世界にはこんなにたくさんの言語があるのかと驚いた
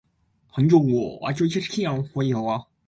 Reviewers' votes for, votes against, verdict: 0, 2, rejected